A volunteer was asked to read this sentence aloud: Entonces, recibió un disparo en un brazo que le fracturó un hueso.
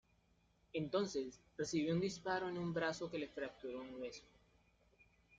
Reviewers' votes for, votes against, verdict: 2, 1, accepted